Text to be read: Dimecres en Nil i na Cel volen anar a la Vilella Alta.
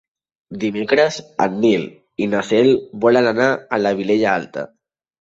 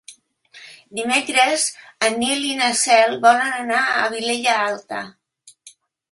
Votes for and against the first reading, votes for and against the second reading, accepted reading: 3, 0, 2, 3, first